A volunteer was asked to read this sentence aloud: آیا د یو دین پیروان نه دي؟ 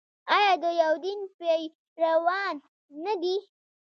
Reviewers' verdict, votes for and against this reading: rejected, 0, 2